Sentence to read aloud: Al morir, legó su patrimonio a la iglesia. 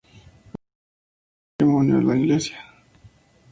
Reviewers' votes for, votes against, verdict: 0, 2, rejected